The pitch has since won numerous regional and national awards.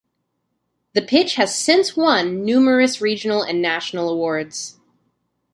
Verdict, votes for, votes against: accepted, 2, 0